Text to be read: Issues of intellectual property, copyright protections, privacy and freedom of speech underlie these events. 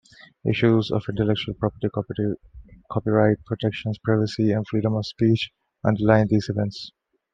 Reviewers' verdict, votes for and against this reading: rejected, 1, 2